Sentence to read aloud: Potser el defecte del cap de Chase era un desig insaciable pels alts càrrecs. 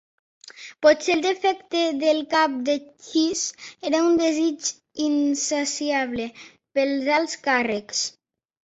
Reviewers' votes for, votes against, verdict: 1, 3, rejected